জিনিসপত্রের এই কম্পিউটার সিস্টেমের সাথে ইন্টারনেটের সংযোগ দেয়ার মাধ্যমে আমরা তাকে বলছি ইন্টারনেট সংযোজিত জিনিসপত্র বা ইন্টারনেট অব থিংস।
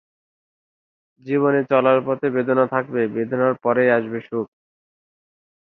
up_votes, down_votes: 0, 2